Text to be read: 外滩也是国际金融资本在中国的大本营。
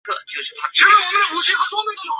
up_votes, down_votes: 2, 6